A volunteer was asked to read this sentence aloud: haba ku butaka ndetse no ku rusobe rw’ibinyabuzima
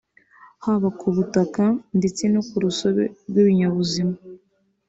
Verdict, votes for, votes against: accepted, 2, 0